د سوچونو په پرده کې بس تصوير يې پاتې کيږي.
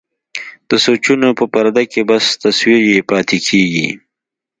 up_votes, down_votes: 2, 0